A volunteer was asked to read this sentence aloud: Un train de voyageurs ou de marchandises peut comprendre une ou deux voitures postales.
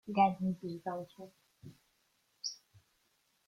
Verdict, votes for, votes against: rejected, 0, 2